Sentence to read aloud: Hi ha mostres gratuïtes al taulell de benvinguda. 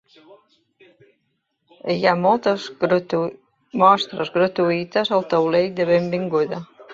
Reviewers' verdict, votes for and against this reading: rejected, 1, 3